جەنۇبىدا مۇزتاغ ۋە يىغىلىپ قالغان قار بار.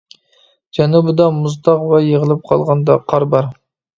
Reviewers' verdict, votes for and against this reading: rejected, 1, 2